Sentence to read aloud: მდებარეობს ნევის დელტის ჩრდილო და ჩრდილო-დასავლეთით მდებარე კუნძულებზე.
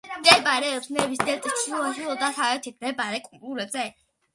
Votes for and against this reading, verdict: 1, 2, rejected